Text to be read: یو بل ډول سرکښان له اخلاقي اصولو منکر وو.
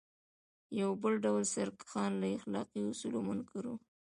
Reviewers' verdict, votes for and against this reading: accepted, 2, 0